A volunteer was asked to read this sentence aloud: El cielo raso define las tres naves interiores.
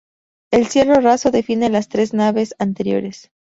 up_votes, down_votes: 0, 2